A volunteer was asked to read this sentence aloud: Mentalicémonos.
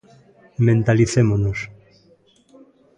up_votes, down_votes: 3, 0